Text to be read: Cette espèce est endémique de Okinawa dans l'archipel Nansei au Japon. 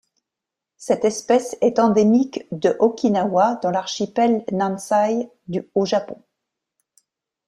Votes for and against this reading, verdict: 0, 2, rejected